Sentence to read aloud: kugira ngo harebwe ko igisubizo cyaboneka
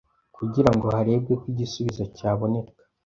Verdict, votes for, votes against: accepted, 2, 0